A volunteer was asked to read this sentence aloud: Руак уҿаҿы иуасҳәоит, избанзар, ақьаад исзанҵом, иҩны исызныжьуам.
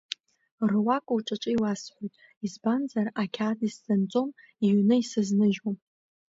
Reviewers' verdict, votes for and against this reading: rejected, 0, 2